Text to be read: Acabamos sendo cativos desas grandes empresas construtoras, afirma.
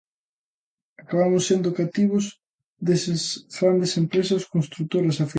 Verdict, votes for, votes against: rejected, 0, 2